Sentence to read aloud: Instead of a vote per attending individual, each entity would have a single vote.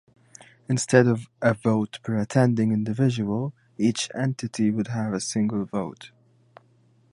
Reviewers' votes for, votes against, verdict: 2, 0, accepted